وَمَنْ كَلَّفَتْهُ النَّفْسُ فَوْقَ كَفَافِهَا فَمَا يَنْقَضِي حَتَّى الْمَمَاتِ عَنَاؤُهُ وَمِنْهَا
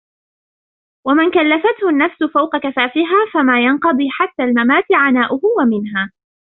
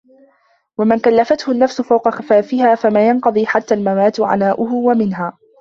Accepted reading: first